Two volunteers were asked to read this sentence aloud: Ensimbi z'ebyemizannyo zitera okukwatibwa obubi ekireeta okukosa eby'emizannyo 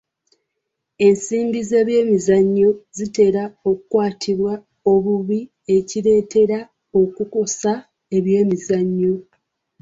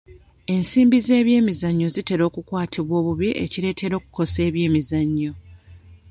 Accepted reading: second